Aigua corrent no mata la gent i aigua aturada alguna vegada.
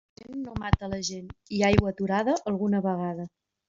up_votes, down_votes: 0, 2